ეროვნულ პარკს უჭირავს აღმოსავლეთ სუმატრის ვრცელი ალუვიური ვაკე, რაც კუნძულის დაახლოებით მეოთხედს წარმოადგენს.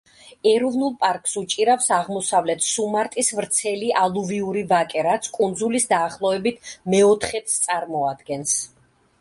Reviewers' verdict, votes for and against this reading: rejected, 1, 2